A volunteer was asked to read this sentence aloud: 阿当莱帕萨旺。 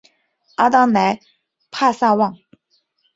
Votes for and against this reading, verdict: 6, 0, accepted